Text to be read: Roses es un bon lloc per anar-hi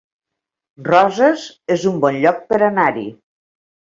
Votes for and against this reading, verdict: 2, 0, accepted